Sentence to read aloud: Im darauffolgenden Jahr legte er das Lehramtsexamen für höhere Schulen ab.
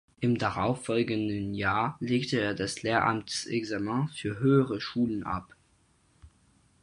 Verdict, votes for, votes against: rejected, 0, 4